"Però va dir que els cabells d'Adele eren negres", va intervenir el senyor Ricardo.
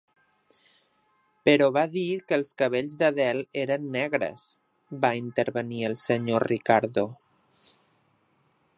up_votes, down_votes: 3, 0